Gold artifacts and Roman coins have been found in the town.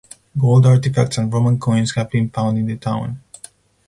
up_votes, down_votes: 4, 0